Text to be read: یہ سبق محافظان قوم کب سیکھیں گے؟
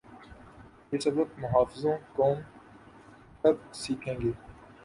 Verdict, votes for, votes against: rejected, 1, 2